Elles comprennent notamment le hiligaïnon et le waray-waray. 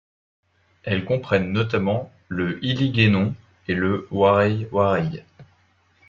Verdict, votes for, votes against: accepted, 2, 0